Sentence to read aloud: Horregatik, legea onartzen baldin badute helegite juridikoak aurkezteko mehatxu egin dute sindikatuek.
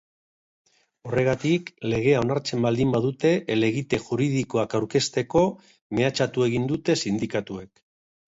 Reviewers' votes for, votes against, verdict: 0, 2, rejected